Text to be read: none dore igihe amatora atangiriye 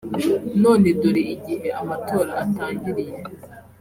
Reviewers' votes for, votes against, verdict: 3, 0, accepted